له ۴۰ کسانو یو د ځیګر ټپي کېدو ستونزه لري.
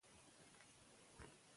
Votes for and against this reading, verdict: 0, 2, rejected